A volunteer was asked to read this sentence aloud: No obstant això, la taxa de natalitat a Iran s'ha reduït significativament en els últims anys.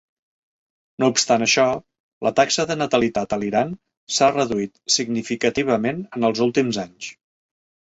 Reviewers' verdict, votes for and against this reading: rejected, 1, 2